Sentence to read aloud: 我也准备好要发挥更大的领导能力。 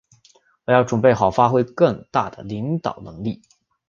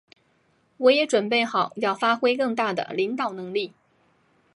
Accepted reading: second